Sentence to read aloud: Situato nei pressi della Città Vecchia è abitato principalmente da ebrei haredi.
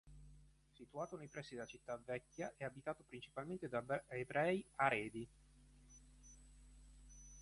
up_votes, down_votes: 0, 4